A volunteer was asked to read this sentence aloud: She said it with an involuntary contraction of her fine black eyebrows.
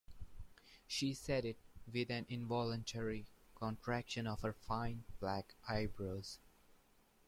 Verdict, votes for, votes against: accepted, 2, 0